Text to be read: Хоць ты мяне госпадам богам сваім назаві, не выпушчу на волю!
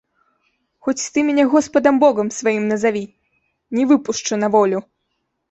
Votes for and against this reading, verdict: 2, 0, accepted